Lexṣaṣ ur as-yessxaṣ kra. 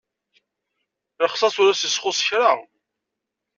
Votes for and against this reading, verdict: 1, 2, rejected